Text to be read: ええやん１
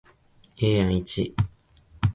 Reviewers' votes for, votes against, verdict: 0, 2, rejected